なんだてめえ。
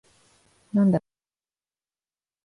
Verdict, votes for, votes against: rejected, 3, 11